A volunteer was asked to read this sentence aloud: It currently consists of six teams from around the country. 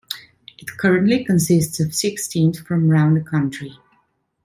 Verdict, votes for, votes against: accepted, 2, 0